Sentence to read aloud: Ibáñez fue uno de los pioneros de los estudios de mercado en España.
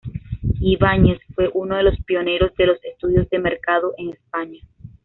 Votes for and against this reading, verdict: 2, 0, accepted